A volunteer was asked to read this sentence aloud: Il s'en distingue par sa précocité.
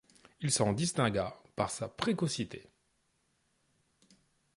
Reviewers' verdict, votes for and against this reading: rejected, 1, 2